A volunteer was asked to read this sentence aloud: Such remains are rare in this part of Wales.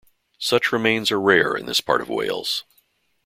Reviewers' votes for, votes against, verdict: 2, 0, accepted